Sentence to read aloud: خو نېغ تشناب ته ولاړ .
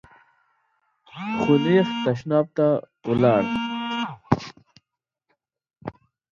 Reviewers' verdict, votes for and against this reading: rejected, 0, 3